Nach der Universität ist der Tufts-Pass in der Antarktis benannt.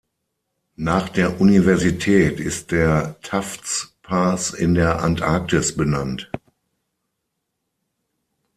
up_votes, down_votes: 0, 6